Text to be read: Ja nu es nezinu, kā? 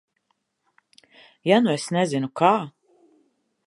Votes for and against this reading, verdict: 4, 0, accepted